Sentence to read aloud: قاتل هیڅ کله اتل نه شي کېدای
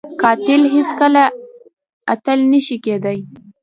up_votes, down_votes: 1, 2